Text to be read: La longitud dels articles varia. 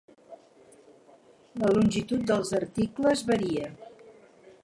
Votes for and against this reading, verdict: 2, 4, rejected